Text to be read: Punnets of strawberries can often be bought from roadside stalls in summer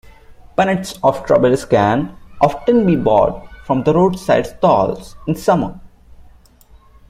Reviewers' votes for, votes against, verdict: 0, 2, rejected